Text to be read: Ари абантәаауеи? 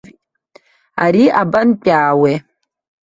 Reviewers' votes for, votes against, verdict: 0, 2, rejected